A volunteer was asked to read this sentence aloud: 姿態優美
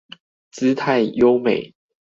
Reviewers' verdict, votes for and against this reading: accepted, 4, 0